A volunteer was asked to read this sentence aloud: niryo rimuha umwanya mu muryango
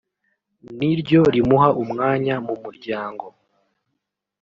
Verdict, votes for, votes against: rejected, 1, 2